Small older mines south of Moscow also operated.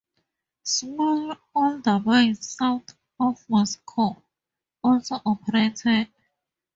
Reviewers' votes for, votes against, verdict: 0, 2, rejected